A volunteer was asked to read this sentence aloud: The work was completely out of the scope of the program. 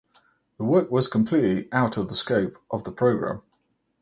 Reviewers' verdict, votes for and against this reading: accepted, 4, 0